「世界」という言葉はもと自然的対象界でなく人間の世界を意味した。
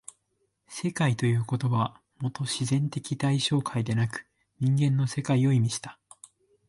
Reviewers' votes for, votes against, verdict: 2, 0, accepted